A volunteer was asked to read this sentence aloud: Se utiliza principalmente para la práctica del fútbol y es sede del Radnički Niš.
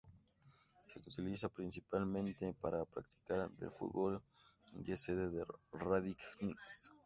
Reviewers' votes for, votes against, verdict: 0, 2, rejected